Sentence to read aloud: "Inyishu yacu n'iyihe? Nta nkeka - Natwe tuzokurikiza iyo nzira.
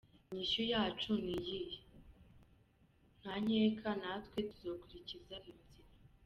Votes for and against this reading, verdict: 1, 2, rejected